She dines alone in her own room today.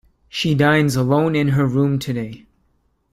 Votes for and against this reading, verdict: 1, 2, rejected